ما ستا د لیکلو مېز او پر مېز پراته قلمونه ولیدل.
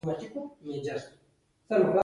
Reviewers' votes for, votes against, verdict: 0, 2, rejected